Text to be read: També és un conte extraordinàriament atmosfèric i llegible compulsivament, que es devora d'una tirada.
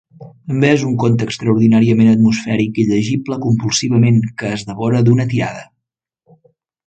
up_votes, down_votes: 1, 2